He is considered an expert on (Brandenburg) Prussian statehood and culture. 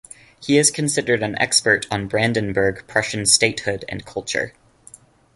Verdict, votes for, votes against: accepted, 2, 0